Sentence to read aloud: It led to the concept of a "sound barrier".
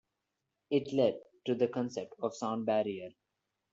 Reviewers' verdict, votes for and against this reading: rejected, 0, 2